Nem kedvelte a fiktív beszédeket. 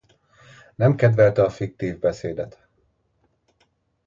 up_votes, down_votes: 0, 2